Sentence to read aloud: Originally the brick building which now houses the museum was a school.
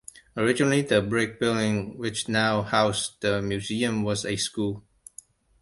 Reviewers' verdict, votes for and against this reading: rejected, 0, 2